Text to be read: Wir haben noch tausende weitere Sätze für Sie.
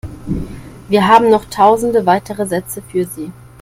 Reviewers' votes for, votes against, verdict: 2, 0, accepted